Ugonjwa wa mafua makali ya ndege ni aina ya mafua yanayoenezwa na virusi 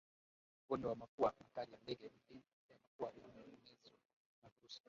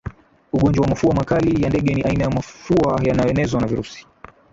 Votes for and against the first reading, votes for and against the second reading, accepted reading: 1, 4, 14, 7, second